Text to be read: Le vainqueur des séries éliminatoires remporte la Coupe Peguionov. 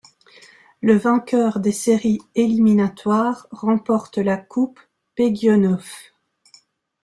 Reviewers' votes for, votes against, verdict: 2, 0, accepted